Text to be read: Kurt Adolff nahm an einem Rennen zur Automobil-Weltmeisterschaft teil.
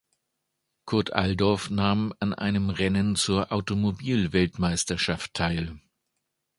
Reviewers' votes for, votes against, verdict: 0, 2, rejected